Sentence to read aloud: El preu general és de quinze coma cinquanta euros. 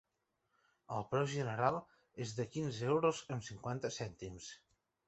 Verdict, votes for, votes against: rejected, 1, 2